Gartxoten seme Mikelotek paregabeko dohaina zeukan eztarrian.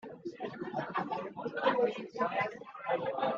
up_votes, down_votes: 0, 2